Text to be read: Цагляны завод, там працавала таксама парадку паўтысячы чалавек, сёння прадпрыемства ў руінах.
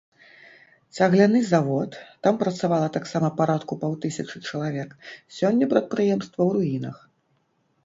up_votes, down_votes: 1, 3